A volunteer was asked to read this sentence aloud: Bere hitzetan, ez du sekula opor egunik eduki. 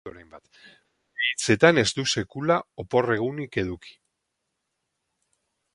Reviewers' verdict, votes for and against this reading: rejected, 2, 4